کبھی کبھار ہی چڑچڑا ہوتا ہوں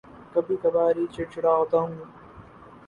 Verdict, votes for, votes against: rejected, 0, 2